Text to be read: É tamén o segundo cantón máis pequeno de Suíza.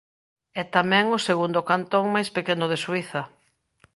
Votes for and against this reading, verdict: 2, 0, accepted